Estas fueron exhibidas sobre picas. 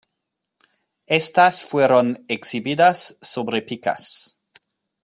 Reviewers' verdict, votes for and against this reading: accepted, 2, 0